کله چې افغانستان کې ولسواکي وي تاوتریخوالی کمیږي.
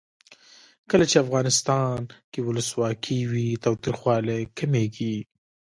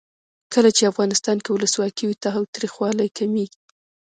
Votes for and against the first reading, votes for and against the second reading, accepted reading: 1, 2, 2, 0, second